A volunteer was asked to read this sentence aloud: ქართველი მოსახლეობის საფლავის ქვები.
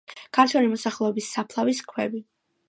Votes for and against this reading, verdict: 2, 0, accepted